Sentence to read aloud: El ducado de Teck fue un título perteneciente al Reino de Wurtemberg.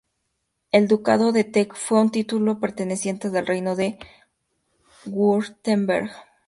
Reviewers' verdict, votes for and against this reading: accepted, 2, 0